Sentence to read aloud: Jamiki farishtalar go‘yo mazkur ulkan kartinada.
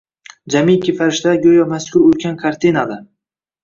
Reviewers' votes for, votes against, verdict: 1, 2, rejected